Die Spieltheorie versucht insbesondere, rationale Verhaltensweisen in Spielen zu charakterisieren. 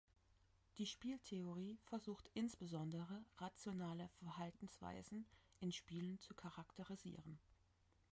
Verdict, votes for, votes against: accepted, 2, 1